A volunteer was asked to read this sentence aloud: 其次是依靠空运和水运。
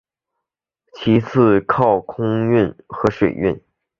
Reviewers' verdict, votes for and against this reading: accepted, 3, 0